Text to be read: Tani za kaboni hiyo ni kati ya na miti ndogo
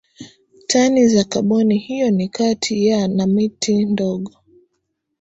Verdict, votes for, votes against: accepted, 5, 3